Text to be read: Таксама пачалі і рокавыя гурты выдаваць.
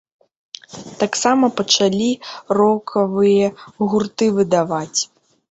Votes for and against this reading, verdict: 0, 2, rejected